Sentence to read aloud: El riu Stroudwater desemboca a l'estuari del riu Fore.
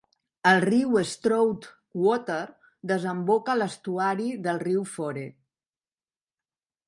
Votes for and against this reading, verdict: 2, 1, accepted